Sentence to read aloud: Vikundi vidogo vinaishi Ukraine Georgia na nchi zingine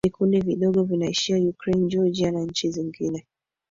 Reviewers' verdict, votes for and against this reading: accepted, 3, 1